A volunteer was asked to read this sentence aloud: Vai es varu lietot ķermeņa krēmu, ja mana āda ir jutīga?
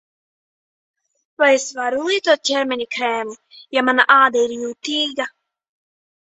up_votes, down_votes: 1, 2